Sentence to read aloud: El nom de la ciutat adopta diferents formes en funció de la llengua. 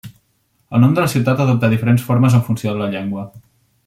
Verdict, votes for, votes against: accepted, 2, 0